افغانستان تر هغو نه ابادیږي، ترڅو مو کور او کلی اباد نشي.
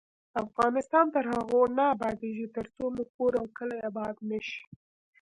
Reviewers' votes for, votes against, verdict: 2, 0, accepted